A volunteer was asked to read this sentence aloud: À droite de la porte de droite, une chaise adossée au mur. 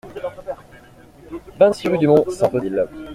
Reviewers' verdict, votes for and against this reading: rejected, 0, 2